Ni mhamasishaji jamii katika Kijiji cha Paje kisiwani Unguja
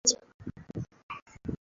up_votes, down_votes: 0, 2